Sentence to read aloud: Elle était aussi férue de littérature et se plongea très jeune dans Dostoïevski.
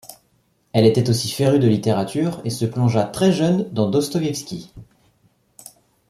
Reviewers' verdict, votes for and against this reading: accepted, 2, 0